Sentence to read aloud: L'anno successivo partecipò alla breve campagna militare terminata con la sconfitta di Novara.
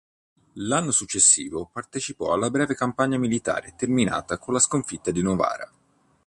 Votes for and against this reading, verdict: 2, 0, accepted